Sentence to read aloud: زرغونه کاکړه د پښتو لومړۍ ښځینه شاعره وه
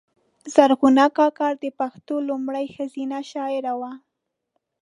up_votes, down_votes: 1, 2